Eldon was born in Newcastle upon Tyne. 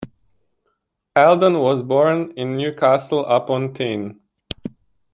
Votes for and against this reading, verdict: 1, 2, rejected